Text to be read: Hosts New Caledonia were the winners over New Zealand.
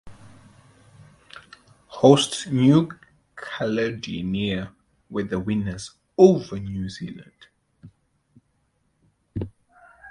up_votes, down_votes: 2, 0